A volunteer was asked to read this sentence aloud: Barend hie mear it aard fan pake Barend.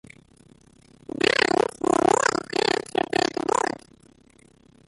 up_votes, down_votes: 0, 2